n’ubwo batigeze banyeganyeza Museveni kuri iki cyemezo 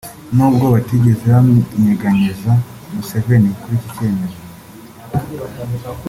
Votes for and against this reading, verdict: 2, 0, accepted